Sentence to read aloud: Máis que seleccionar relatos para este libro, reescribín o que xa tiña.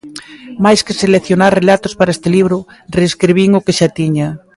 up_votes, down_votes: 2, 0